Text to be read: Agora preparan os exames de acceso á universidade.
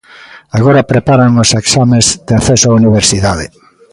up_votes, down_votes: 2, 0